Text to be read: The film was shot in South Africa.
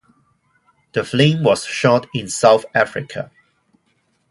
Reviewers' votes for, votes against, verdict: 0, 2, rejected